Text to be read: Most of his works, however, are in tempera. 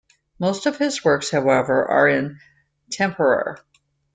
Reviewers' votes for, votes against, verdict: 2, 0, accepted